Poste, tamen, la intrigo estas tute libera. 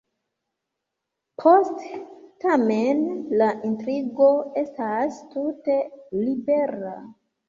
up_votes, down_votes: 2, 1